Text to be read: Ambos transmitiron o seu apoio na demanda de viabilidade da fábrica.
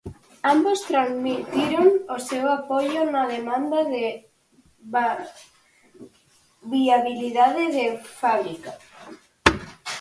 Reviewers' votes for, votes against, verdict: 0, 4, rejected